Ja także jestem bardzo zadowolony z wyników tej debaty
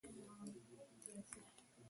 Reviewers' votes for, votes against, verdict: 0, 2, rejected